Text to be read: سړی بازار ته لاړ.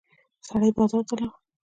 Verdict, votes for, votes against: accepted, 2, 0